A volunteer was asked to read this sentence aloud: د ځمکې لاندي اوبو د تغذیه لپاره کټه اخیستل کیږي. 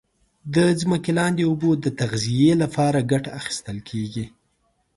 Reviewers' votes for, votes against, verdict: 2, 0, accepted